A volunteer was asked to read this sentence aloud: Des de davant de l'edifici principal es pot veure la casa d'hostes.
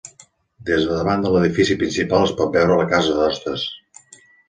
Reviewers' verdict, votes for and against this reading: accepted, 2, 0